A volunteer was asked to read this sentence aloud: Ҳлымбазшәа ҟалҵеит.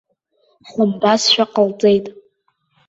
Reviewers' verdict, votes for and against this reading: accepted, 2, 0